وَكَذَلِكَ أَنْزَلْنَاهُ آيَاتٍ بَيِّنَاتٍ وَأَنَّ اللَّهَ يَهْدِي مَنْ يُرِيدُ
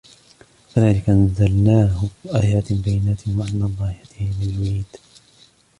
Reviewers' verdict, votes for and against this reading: accepted, 2, 1